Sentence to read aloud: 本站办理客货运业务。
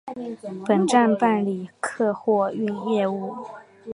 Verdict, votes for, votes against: accepted, 3, 0